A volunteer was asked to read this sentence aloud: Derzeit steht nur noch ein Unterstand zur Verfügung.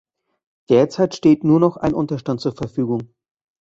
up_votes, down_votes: 2, 0